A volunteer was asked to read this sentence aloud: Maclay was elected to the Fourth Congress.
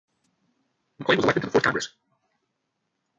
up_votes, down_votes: 0, 2